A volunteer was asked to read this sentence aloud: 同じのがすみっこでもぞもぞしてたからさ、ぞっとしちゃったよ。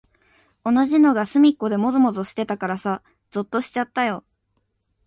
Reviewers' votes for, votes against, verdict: 9, 0, accepted